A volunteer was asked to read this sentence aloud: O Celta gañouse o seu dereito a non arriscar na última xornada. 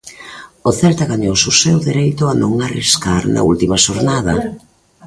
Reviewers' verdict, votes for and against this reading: accepted, 2, 0